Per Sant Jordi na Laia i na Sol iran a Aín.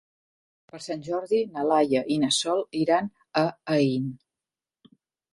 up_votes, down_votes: 2, 0